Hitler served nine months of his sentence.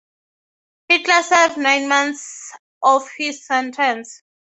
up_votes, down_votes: 6, 0